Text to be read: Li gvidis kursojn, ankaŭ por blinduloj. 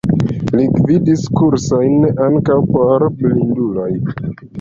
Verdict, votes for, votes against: rejected, 0, 2